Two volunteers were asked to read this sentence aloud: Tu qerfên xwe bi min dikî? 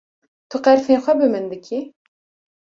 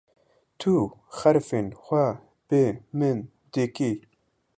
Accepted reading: first